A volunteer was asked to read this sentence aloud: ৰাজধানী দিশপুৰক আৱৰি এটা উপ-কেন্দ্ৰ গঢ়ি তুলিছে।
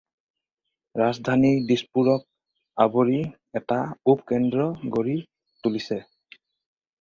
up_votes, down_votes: 4, 0